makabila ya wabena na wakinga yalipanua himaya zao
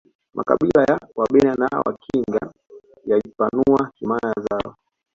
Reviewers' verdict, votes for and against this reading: rejected, 1, 2